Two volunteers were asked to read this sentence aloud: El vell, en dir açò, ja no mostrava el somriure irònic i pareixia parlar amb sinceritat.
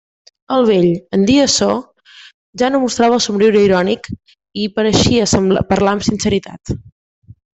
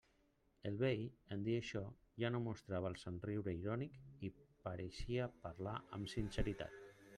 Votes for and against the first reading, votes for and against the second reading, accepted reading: 2, 0, 1, 2, first